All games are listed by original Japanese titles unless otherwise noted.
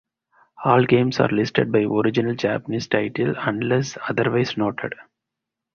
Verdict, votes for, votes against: accepted, 4, 2